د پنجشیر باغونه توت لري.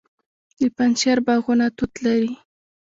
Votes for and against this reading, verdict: 0, 2, rejected